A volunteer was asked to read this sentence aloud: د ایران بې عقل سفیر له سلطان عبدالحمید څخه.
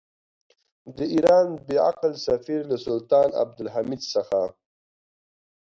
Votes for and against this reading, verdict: 2, 1, accepted